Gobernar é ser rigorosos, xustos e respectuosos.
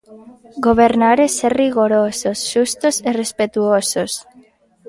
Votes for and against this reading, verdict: 2, 1, accepted